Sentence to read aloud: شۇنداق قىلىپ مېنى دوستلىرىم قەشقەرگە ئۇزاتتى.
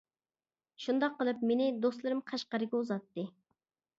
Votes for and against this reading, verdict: 2, 0, accepted